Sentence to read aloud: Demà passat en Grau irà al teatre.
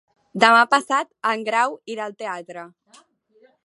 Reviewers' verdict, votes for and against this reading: accepted, 3, 0